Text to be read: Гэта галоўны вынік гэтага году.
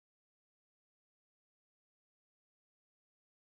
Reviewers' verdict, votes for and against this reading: rejected, 0, 2